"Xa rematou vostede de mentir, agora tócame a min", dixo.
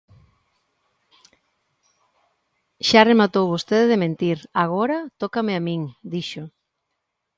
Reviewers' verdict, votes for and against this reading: accepted, 2, 0